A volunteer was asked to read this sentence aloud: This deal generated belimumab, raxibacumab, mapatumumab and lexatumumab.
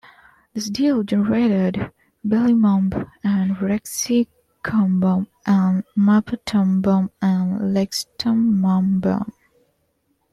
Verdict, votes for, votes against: rejected, 0, 2